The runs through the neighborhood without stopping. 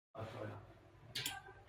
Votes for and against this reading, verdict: 0, 2, rejected